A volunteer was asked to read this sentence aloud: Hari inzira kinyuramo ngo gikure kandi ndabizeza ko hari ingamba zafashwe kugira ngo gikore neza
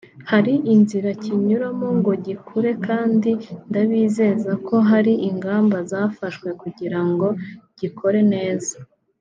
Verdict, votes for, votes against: accepted, 2, 0